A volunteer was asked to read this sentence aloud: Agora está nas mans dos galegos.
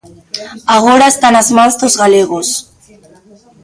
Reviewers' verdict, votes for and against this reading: rejected, 1, 2